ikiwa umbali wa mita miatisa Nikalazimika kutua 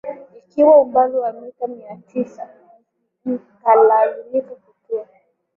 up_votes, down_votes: 2, 1